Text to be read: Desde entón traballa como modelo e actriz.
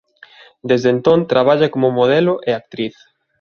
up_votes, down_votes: 2, 0